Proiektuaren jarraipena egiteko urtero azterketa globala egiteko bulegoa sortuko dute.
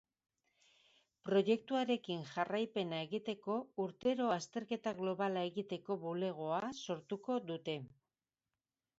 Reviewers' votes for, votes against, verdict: 0, 2, rejected